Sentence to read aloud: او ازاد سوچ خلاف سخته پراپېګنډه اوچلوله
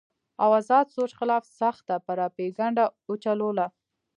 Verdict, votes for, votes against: accepted, 2, 0